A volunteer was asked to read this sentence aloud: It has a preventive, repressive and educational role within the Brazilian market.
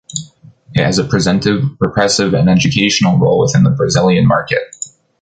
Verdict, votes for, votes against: rejected, 0, 2